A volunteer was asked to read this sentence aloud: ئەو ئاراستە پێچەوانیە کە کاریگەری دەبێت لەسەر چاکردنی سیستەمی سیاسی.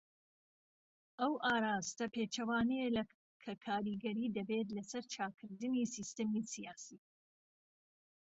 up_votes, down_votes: 0, 2